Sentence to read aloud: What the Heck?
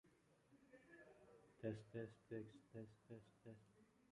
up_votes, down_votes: 0, 2